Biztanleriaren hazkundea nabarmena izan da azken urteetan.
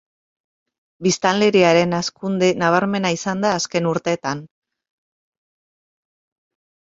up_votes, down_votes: 0, 2